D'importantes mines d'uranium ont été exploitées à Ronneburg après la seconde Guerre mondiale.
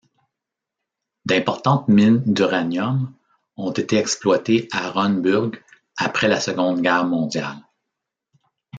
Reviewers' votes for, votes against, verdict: 1, 2, rejected